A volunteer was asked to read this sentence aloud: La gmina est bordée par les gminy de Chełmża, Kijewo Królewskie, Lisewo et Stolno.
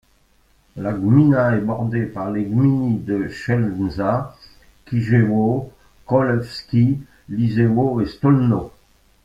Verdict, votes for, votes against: rejected, 0, 2